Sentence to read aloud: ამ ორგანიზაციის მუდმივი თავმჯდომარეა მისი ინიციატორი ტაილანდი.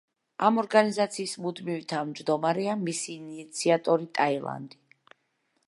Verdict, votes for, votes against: accepted, 2, 0